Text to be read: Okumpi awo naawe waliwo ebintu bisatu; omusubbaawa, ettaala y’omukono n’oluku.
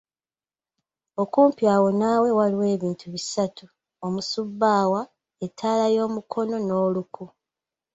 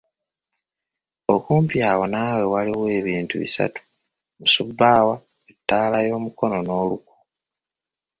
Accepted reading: first